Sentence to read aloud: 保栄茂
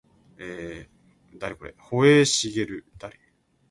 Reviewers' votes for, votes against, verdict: 2, 0, accepted